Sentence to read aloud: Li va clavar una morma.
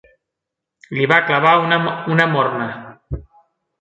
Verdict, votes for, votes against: rejected, 1, 2